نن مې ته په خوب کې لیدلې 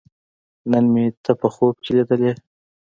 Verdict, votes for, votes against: accepted, 2, 1